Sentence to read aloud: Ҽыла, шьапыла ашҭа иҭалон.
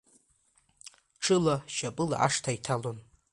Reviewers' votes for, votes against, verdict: 2, 1, accepted